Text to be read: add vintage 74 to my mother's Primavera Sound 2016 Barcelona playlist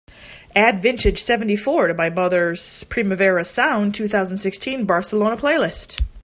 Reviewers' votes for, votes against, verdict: 0, 2, rejected